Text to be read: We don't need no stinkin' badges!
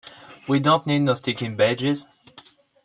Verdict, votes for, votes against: rejected, 1, 2